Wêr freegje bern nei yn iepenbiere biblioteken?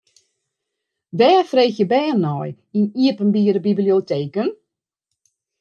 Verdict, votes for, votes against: accepted, 2, 0